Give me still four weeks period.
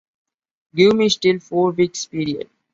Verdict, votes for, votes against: accepted, 2, 0